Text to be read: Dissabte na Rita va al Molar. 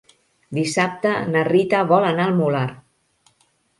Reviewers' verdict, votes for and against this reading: rejected, 0, 2